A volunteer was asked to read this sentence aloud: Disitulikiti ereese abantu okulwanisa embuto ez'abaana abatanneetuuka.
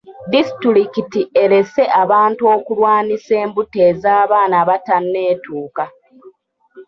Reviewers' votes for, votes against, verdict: 0, 2, rejected